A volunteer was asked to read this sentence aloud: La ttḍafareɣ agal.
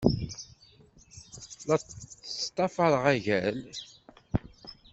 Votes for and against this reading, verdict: 1, 2, rejected